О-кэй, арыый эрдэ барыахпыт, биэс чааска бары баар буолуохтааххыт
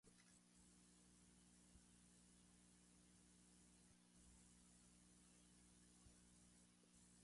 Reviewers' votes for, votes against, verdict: 0, 2, rejected